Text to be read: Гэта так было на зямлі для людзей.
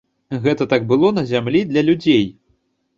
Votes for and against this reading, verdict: 2, 0, accepted